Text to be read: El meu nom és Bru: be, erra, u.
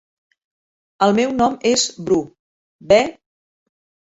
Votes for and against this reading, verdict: 0, 3, rejected